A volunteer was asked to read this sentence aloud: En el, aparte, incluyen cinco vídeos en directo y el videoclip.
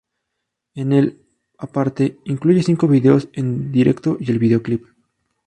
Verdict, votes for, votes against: accepted, 2, 0